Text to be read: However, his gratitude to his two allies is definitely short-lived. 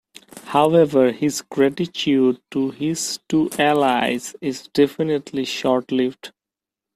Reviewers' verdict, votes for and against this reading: accepted, 2, 0